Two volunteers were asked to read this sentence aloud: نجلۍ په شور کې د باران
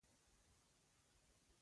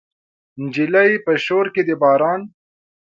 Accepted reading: second